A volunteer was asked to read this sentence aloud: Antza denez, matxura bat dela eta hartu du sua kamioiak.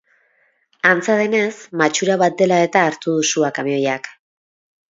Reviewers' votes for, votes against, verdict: 6, 0, accepted